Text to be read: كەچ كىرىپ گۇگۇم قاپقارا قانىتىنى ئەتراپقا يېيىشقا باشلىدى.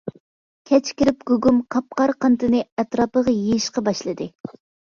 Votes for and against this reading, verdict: 0, 2, rejected